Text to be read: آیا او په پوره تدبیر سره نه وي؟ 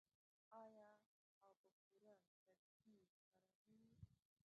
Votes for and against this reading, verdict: 0, 2, rejected